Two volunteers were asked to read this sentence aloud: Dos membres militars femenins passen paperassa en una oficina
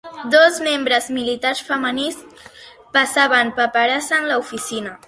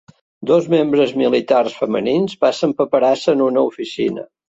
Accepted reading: second